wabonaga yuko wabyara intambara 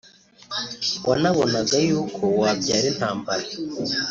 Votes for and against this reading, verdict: 1, 3, rejected